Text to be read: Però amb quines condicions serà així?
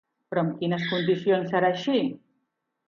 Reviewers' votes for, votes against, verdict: 4, 0, accepted